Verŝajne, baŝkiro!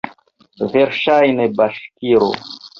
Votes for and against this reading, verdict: 2, 0, accepted